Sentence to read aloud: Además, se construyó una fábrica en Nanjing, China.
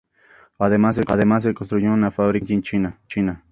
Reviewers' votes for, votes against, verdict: 2, 0, accepted